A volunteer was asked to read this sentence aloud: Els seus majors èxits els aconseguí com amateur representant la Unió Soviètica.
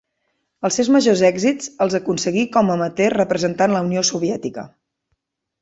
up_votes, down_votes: 2, 0